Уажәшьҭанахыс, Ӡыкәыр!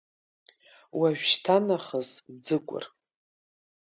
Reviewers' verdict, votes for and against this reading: accepted, 3, 0